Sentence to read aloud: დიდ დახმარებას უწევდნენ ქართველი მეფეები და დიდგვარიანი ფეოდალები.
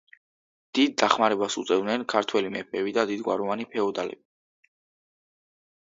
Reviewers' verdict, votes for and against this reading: rejected, 0, 2